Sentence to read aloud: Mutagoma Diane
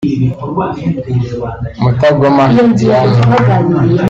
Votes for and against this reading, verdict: 0, 2, rejected